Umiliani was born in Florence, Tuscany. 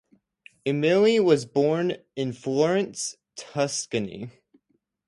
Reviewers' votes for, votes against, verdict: 2, 0, accepted